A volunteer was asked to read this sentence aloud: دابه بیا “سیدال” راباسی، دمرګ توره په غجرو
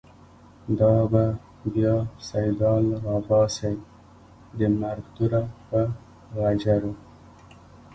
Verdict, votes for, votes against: rejected, 1, 2